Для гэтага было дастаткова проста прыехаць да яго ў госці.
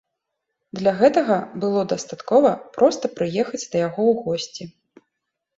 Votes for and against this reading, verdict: 2, 0, accepted